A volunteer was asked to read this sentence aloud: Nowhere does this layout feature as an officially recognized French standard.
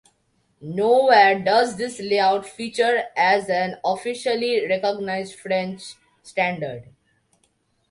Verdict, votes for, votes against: accepted, 2, 0